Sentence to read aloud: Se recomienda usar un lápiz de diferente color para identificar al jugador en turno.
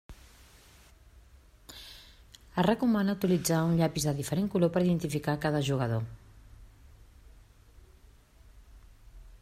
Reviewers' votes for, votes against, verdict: 0, 2, rejected